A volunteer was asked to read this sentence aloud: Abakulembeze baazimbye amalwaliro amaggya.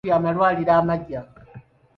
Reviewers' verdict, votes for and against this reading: rejected, 0, 2